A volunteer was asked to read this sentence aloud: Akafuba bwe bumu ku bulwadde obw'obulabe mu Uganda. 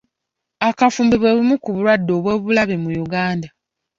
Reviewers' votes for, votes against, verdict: 1, 2, rejected